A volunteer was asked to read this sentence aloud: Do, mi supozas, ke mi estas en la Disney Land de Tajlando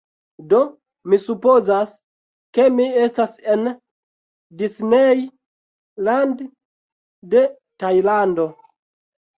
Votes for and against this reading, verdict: 1, 2, rejected